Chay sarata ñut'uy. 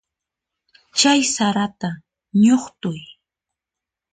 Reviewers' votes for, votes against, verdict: 0, 4, rejected